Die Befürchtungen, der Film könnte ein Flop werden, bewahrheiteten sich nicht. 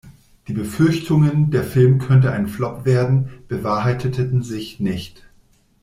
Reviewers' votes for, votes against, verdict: 2, 0, accepted